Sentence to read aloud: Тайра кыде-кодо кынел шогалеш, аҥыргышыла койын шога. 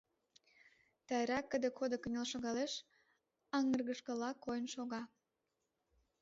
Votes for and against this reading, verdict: 2, 1, accepted